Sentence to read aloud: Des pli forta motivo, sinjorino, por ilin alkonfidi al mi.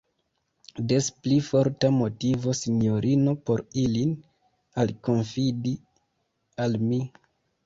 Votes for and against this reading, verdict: 2, 0, accepted